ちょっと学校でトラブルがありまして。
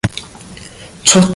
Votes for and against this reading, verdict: 0, 2, rejected